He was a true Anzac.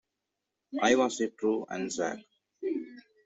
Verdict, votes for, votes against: rejected, 0, 2